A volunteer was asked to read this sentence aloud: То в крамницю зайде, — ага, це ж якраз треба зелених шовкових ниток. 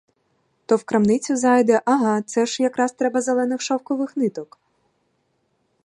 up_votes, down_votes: 0, 2